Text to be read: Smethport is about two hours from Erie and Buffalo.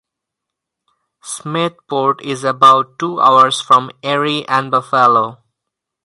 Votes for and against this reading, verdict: 4, 2, accepted